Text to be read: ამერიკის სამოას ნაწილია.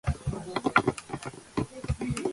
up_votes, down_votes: 0, 2